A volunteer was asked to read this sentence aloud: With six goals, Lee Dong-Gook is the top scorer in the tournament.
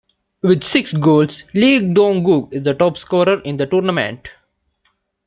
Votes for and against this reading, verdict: 2, 0, accepted